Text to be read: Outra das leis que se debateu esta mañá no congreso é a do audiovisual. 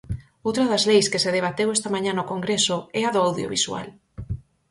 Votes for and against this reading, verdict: 4, 0, accepted